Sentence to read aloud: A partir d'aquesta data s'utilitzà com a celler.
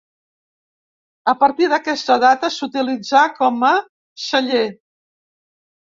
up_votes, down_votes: 2, 1